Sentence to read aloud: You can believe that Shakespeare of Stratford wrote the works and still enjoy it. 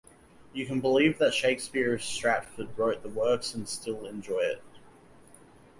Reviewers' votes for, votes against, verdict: 2, 0, accepted